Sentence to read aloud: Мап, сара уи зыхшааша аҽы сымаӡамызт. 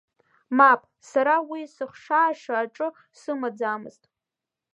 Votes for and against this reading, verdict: 0, 2, rejected